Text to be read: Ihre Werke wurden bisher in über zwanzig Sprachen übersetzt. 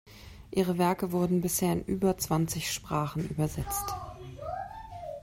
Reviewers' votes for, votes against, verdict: 2, 0, accepted